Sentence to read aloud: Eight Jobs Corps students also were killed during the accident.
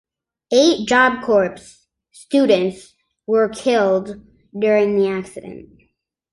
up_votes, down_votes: 0, 2